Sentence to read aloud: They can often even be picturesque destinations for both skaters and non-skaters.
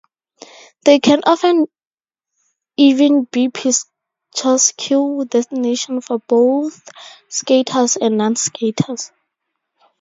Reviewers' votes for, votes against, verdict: 0, 4, rejected